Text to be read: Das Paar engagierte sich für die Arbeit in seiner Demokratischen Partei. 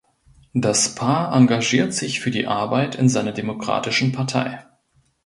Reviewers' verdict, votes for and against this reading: rejected, 1, 2